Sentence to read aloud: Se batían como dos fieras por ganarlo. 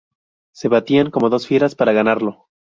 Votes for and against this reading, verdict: 0, 2, rejected